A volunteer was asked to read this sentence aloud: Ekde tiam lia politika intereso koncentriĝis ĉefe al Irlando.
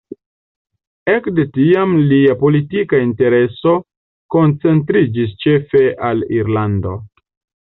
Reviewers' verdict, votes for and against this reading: rejected, 0, 2